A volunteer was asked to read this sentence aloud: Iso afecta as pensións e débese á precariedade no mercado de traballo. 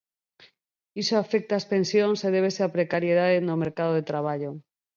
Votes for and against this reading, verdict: 20, 2, accepted